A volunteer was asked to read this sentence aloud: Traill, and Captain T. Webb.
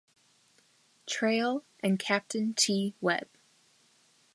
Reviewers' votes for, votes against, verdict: 2, 0, accepted